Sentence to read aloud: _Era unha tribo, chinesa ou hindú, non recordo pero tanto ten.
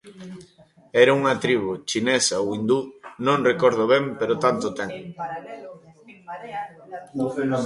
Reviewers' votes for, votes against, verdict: 0, 2, rejected